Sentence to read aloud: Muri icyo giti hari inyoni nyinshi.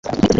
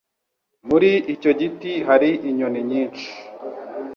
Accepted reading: second